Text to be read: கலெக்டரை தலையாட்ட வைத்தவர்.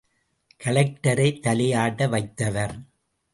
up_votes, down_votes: 2, 0